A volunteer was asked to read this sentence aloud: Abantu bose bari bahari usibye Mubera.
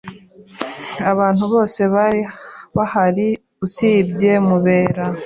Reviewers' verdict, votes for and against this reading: accepted, 2, 0